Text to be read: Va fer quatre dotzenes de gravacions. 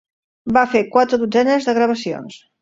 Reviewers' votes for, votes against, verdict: 3, 0, accepted